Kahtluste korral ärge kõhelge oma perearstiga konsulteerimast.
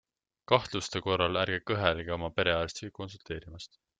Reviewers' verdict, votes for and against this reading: accepted, 2, 0